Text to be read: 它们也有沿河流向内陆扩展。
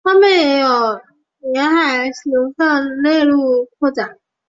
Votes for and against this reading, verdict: 0, 2, rejected